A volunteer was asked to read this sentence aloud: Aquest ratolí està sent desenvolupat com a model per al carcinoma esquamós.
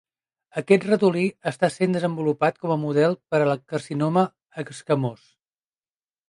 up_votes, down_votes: 0, 2